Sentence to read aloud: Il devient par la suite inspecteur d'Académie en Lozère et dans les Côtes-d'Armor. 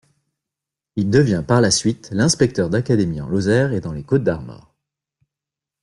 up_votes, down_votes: 1, 2